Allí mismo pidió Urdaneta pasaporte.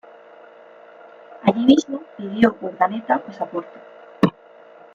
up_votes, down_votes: 2, 0